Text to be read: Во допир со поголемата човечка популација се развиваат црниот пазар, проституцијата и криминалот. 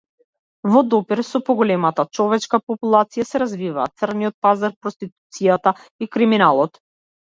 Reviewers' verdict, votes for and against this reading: accepted, 2, 0